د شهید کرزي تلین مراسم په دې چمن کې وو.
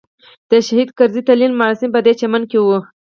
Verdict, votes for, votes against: rejected, 2, 6